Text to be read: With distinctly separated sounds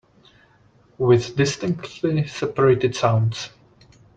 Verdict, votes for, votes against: accepted, 2, 0